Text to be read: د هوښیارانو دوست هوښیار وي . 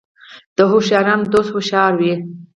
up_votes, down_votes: 2, 4